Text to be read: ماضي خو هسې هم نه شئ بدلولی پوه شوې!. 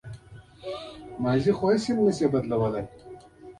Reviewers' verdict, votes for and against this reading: rejected, 1, 2